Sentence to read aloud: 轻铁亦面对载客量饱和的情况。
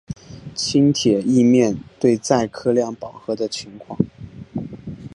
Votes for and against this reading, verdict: 0, 2, rejected